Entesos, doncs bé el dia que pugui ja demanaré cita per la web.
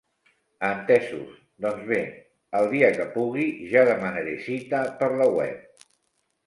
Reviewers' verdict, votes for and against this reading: accepted, 2, 0